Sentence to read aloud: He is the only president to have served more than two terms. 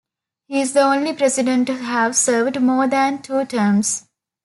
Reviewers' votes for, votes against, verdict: 1, 2, rejected